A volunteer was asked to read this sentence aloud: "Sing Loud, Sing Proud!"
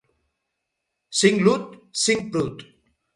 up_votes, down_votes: 2, 4